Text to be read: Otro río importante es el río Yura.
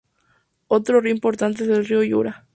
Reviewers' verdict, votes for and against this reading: accepted, 2, 0